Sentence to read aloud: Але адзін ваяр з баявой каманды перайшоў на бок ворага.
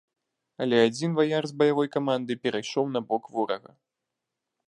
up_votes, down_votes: 2, 0